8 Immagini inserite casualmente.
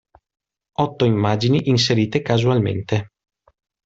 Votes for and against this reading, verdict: 0, 2, rejected